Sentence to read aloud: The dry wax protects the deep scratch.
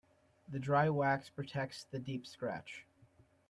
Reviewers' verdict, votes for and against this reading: accepted, 2, 0